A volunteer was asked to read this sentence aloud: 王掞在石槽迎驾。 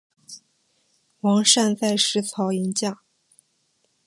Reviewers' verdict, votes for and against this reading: accepted, 2, 1